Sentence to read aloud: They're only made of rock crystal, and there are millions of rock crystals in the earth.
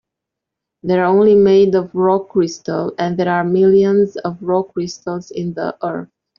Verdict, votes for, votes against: accepted, 6, 1